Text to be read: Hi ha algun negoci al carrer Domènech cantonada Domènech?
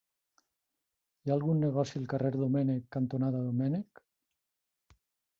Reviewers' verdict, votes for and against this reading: accepted, 5, 0